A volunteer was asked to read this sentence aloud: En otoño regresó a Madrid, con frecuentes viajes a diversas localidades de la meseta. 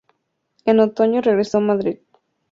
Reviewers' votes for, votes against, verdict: 0, 2, rejected